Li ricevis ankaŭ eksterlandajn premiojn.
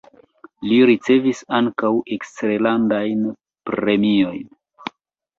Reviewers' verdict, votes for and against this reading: rejected, 1, 2